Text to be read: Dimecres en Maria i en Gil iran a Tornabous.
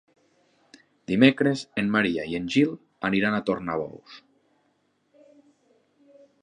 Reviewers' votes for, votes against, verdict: 1, 2, rejected